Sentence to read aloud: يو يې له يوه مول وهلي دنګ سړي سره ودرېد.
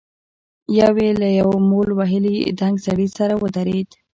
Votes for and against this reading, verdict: 1, 2, rejected